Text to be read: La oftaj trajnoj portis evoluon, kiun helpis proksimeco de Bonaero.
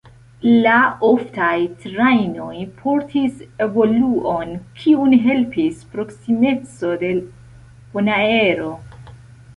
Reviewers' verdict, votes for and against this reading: accepted, 2, 1